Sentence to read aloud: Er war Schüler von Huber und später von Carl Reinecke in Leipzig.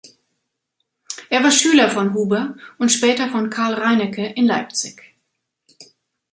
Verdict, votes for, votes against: accepted, 2, 0